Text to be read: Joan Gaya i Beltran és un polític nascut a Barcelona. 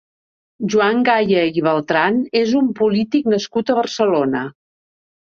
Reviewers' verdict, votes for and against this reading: accepted, 2, 0